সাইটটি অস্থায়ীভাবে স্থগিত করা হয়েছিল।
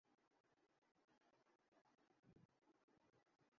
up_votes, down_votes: 1, 2